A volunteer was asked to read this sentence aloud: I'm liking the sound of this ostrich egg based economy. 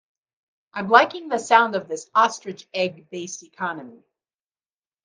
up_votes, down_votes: 2, 0